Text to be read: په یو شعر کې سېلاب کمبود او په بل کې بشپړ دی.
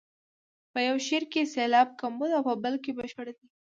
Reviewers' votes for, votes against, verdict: 2, 0, accepted